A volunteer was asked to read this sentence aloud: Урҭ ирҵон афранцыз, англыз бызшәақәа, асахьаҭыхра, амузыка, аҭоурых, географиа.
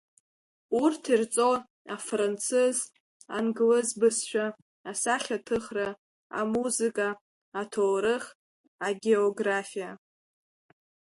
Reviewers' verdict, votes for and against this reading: rejected, 1, 2